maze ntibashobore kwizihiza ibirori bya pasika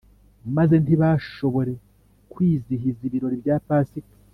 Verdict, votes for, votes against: accepted, 2, 0